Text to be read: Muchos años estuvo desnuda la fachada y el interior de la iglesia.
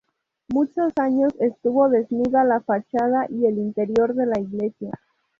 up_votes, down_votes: 2, 0